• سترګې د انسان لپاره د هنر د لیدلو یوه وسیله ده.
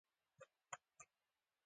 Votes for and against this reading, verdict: 2, 1, accepted